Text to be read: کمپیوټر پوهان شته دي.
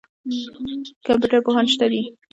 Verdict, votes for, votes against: rejected, 1, 2